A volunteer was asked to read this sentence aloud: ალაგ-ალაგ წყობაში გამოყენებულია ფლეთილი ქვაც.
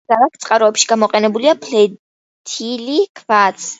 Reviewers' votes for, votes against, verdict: 1, 2, rejected